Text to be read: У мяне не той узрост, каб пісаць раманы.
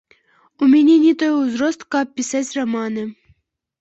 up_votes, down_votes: 2, 1